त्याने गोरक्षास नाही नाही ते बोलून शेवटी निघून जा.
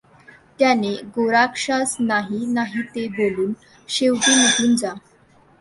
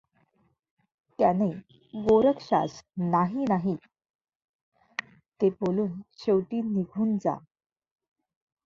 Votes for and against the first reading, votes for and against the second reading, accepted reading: 2, 1, 1, 2, first